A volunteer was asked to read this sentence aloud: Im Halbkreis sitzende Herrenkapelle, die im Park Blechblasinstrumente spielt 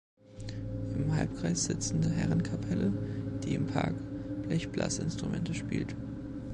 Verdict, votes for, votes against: accepted, 2, 0